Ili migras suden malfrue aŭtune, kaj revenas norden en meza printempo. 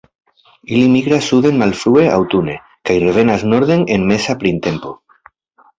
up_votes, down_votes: 1, 2